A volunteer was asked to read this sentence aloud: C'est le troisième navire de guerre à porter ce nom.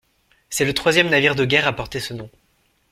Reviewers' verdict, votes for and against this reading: accepted, 2, 0